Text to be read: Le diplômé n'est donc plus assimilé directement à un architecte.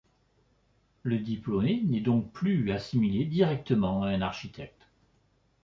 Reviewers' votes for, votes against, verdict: 2, 0, accepted